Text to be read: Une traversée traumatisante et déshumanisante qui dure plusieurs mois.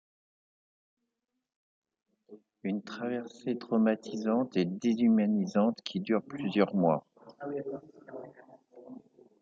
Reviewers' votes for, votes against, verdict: 3, 0, accepted